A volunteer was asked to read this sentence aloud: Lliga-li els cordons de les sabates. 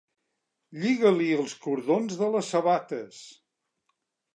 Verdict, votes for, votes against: accepted, 4, 0